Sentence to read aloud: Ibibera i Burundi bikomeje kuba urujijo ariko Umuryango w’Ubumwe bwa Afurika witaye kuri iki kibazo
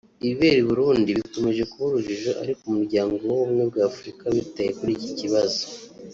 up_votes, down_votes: 1, 2